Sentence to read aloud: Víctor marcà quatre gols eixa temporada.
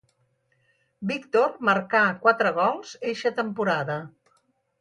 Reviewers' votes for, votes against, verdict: 4, 0, accepted